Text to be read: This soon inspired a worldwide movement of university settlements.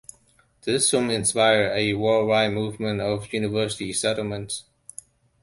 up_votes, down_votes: 2, 0